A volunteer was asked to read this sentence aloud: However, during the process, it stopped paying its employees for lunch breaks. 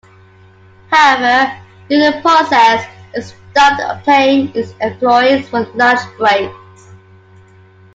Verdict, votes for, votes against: accepted, 2, 1